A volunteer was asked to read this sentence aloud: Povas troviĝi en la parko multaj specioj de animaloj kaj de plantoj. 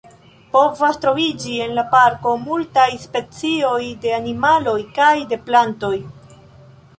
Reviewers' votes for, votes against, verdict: 2, 1, accepted